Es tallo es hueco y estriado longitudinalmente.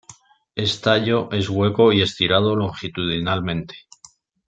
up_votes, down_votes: 2, 0